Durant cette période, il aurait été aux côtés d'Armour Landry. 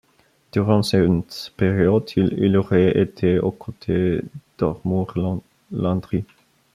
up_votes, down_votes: 1, 3